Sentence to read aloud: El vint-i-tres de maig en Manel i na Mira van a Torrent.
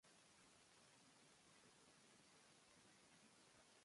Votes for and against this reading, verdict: 0, 2, rejected